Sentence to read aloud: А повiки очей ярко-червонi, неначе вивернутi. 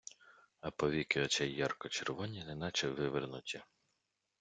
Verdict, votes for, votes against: accepted, 2, 0